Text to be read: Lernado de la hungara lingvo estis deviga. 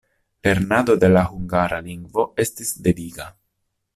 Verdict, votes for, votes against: rejected, 1, 2